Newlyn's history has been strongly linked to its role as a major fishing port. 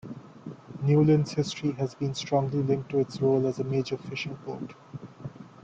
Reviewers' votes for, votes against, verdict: 2, 1, accepted